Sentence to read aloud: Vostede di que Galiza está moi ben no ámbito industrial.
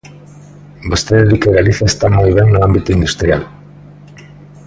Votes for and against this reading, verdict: 2, 1, accepted